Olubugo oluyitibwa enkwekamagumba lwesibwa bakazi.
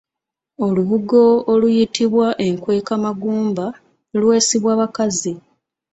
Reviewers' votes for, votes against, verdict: 2, 0, accepted